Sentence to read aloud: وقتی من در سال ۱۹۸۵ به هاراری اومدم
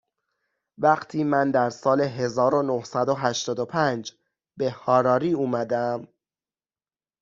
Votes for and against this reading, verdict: 0, 2, rejected